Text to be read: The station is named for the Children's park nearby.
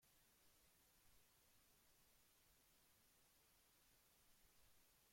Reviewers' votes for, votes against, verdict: 0, 2, rejected